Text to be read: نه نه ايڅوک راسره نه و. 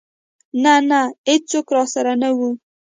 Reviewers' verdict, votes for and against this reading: rejected, 1, 2